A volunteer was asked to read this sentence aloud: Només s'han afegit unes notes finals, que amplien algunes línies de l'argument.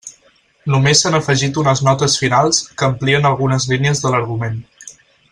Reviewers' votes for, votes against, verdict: 6, 0, accepted